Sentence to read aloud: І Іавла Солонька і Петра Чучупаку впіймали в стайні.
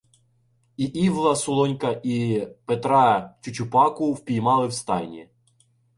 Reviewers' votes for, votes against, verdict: 1, 2, rejected